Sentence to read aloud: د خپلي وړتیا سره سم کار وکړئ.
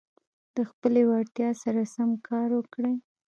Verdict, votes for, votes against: rejected, 0, 2